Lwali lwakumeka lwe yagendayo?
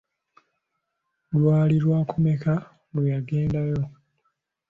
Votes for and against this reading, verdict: 2, 0, accepted